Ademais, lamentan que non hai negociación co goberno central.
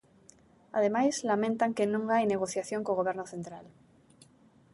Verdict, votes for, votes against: rejected, 1, 2